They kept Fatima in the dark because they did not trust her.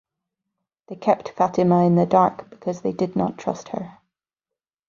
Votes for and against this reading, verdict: 4, 0, accepted